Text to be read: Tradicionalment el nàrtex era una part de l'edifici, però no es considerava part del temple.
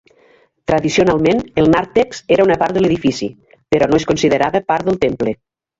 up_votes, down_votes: 1, 3